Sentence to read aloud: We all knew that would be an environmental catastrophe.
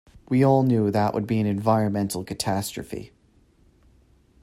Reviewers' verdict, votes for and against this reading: accepted, 2, 0